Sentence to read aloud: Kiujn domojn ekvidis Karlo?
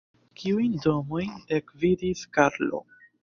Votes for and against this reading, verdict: 1, 2, rejected